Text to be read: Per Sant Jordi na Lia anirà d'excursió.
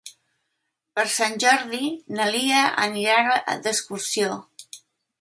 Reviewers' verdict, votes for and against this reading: rejected, 1, 2